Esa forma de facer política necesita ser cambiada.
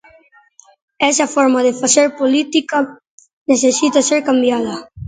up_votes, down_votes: 2, 1